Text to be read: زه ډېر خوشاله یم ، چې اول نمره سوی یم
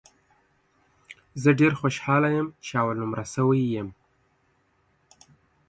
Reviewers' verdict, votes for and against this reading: accepted, 2, 1